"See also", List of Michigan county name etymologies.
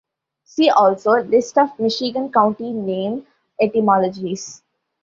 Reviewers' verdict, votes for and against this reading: accepted, 2, 0